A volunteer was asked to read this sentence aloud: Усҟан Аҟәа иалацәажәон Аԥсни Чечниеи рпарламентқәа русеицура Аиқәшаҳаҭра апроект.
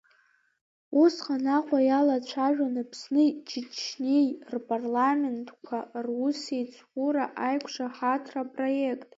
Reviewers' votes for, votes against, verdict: 0, 2, rejected